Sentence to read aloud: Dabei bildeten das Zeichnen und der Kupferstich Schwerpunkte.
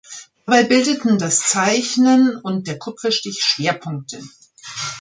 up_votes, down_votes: 0, 2